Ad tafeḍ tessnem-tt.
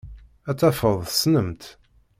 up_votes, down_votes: 2, 1